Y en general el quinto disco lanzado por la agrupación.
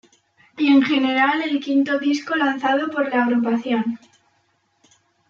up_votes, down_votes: 2, 0